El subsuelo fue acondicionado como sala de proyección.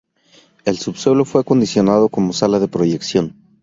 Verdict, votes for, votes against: rejected, 0, 2